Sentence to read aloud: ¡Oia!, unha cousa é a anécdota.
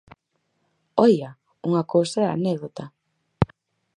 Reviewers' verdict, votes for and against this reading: accepted, 4, 0